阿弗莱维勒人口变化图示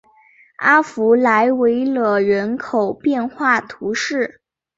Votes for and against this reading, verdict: 2, 0, accepted